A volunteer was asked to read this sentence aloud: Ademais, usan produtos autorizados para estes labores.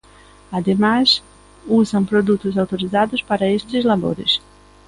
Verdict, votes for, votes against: accepted, 2, 0